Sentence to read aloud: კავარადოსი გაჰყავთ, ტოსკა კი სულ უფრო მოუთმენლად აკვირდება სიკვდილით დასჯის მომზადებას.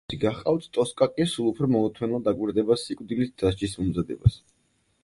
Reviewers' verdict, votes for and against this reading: rejected, 2, 4